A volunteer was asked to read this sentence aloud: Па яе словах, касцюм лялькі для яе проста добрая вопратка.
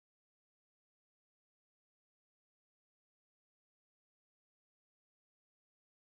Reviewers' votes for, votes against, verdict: 0, 3, rejected